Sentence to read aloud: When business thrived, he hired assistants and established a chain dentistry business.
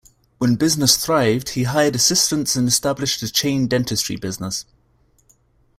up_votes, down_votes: 2, 0